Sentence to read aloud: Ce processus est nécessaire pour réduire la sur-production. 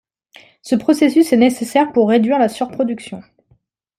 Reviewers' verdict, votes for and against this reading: accepted, 2, 0